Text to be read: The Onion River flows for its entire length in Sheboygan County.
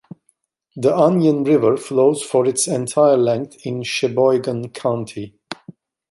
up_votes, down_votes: 2, 0